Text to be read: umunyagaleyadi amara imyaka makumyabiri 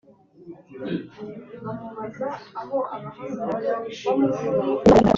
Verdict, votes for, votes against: rejected, 0, 4